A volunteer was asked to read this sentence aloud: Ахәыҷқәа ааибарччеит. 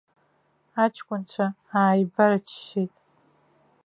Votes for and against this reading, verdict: 0, 2, rejected